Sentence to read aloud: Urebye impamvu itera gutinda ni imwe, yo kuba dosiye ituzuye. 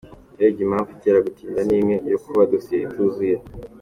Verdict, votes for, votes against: accepted, 2, 1